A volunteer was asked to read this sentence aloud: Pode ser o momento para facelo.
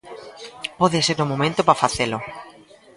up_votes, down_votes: 0, 2